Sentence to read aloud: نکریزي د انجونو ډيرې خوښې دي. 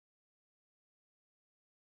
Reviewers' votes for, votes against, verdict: 1, 2, rejected